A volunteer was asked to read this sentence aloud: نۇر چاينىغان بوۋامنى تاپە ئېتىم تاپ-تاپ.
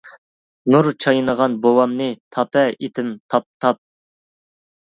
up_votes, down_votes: 2, 0